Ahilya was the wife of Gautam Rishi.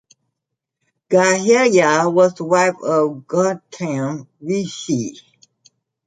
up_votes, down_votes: 1, 3